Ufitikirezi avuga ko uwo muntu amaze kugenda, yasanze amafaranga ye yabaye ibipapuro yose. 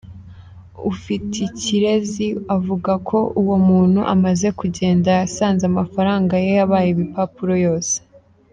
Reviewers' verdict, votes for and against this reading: rejected, 0, 2